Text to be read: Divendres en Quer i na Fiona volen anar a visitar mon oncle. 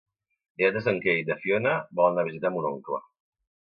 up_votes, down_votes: 1, 2